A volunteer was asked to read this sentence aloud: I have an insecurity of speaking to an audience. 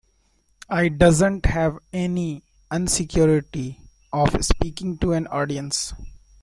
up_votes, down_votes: 0, 2